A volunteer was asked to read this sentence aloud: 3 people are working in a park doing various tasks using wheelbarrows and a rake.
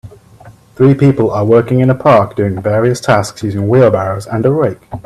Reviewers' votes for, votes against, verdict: 0, 2, rejected